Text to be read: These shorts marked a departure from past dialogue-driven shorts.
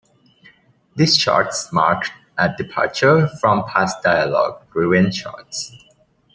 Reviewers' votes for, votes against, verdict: 2, 0, accepted